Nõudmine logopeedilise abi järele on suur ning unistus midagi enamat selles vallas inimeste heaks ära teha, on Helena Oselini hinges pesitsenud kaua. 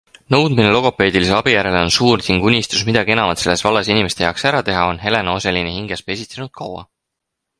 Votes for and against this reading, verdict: 6, 2, accepted